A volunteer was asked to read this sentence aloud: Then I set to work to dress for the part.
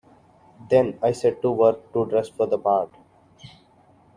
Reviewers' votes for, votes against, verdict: 0, 2, rejected